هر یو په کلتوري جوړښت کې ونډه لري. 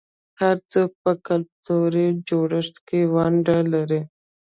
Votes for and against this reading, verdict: 1, 2, rejected